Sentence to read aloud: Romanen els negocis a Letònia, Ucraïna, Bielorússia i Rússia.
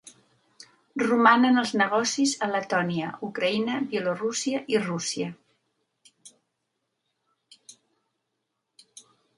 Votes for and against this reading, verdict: 2, 0, accepted